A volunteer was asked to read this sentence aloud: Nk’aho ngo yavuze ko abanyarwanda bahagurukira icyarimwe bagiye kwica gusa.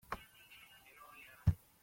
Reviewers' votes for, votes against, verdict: 0, 2, rejected